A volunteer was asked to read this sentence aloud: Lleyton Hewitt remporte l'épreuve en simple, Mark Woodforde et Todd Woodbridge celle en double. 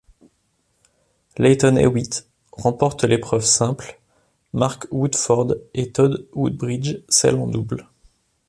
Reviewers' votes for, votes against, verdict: 1, 2, rejected